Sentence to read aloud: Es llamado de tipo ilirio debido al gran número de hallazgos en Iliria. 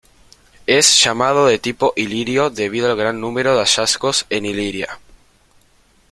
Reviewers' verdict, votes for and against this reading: rejected, 0, 2